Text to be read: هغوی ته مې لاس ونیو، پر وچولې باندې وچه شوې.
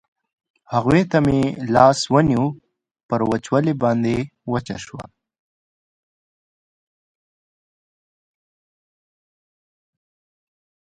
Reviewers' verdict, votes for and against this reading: accepted, 2, 1